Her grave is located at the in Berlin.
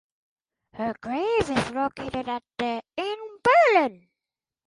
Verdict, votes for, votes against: accepted, 4, 2